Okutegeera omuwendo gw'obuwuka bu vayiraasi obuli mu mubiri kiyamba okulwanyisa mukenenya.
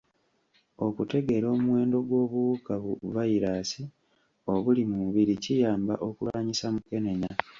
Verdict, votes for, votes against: accepted, 2, 1